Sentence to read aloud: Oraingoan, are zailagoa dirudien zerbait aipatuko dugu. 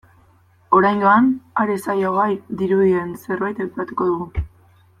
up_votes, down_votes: 0, 2